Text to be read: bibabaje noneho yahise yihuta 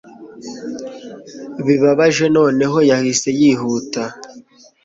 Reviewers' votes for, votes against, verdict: 2, 0, accepted